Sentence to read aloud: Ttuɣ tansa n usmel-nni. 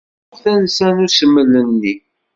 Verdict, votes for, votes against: rejected, 1, 2